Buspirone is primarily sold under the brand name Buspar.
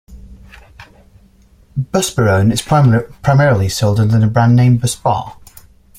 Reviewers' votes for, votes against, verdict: 0, 2, rejected